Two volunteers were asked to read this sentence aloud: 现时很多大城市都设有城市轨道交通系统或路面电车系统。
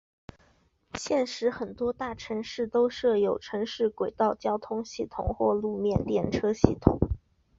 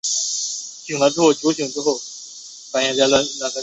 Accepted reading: first